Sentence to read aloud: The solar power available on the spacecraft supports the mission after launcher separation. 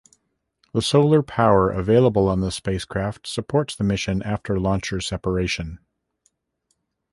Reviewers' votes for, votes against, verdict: 2, 0, accepted